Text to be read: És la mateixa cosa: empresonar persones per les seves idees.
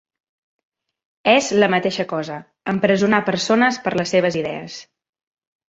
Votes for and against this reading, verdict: 3, 0, accepted